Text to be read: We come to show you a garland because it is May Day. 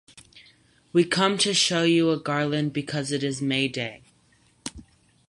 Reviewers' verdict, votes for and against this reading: accepted, 4, 0